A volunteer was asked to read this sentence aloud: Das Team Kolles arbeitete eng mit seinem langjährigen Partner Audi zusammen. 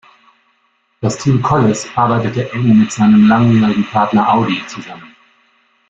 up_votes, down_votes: 2, 0